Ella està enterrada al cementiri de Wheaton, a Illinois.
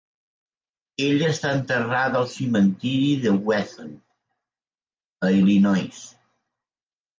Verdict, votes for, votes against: rejected, 1, 2